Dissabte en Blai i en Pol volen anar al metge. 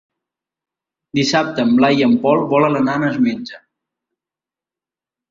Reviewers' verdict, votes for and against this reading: rejected, 3, 4